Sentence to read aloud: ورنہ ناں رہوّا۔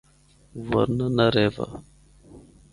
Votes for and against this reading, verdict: 4, 0, accepted